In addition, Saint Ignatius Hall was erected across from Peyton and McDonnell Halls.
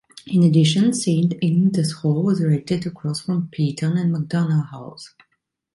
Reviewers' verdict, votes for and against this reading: rejected, 0, 2